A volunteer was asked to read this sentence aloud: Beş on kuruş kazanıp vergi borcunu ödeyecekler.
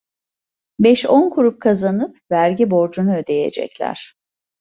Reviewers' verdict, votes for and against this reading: rejected, 0, 2